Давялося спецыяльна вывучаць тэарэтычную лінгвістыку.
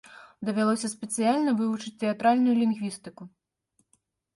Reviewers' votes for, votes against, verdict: 0, 2, rejected